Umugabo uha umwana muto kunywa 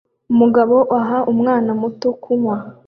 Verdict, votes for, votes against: accepted, 2, 0